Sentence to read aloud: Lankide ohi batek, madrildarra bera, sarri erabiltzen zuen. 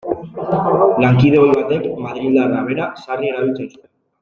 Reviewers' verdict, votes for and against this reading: rejected, 1, 2